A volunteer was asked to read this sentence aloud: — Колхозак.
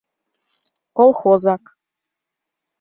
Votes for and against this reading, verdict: 2, 0, accepted